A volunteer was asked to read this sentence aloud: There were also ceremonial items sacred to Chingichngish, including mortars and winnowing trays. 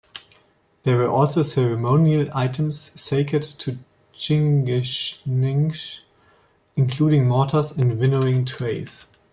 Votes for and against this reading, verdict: 2, 0, accepted